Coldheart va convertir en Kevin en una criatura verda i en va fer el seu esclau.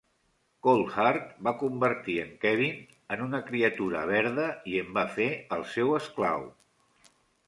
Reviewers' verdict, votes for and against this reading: accepted, 2, 0